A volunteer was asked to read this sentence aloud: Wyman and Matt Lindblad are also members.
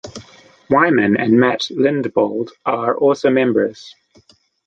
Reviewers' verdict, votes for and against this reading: rejected, 0, 2